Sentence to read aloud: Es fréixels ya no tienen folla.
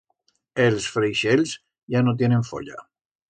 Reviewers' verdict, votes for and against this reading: rejected, 1, 2